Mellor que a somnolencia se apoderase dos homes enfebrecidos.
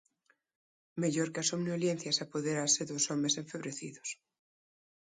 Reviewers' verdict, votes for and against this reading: rejected, 0, 2